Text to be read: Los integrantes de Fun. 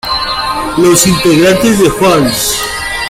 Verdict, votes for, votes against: rejected, 0, 2